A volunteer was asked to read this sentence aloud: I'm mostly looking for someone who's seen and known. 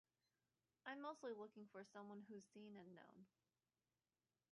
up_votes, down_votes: 0, 2